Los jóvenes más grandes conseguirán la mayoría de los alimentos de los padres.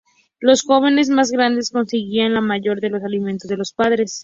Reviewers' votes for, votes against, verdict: 0, 2, rejected